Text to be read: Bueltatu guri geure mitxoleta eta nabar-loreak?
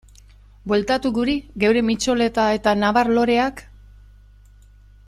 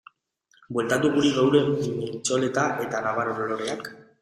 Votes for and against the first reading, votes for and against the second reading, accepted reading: 2, 0, 0, 3, first